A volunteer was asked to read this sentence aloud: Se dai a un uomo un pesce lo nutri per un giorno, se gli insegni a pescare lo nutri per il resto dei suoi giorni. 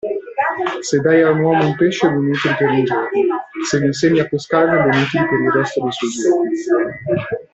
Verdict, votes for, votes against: rejected, 1, 2